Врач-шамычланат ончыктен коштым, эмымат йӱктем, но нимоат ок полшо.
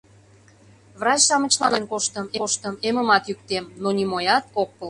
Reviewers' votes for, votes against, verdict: 0, 2, rejected